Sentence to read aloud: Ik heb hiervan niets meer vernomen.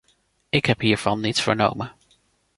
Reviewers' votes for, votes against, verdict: 0, 2, rejected